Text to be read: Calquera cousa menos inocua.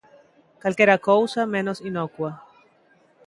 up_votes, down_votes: 2, 0